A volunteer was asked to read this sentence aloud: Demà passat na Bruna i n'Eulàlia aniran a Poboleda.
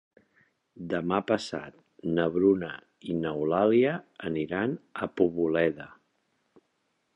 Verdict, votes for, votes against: accepted, 3, 0